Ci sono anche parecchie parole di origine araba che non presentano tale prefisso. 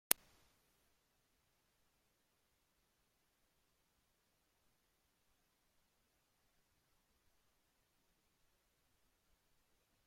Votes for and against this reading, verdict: 0, 2, rejected